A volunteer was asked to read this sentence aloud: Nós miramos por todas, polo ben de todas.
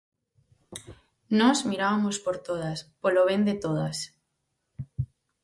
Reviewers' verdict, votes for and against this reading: rejected, 0, 4